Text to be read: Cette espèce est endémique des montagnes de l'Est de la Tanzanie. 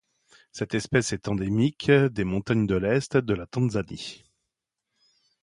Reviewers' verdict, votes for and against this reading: accepted, 2, 0